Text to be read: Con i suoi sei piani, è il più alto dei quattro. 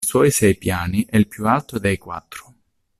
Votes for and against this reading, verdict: 0, 2, rejected